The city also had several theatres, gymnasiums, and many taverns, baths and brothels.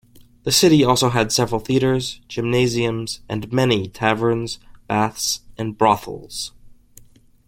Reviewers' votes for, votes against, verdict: 2, 0, accepted